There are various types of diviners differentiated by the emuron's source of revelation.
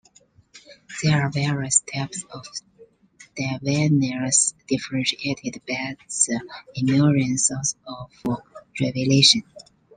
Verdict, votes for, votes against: rejected, 0, 2